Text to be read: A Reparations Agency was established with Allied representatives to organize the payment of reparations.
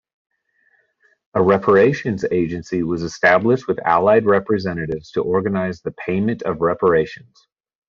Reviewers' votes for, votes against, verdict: 2, 0, accepted